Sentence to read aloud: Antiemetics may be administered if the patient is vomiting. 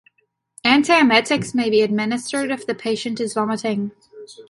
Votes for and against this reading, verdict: 2, 1, accepted